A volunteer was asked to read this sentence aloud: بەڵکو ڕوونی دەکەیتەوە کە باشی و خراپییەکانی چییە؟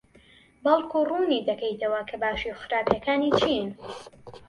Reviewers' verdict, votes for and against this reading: rejected, 1, 2